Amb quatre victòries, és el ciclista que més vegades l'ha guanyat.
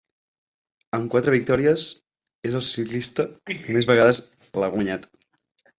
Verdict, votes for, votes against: rejected, 3, 4